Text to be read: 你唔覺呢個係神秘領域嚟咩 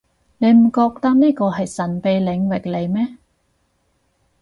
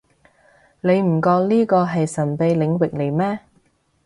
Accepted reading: second